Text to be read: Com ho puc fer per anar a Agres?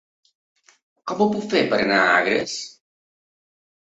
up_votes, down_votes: 2, 0